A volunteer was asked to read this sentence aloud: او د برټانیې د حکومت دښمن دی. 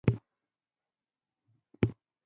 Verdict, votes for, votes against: rejected, 0, 2